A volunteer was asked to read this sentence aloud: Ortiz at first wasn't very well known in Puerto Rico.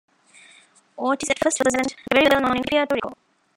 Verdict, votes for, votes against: rejected, 1, 2